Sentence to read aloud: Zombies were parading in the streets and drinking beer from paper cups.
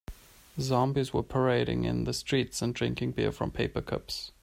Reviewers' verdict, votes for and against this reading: accepted, 2, 0